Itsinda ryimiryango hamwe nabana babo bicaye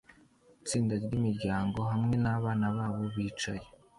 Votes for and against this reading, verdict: 2, 0, accepted